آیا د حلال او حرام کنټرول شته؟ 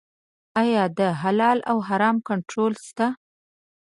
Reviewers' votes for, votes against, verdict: 0, 2, rejected